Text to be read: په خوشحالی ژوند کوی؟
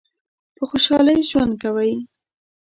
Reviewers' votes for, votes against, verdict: 1, 2, rejected